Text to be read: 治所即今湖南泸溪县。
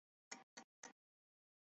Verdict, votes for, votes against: rejected, 0, 3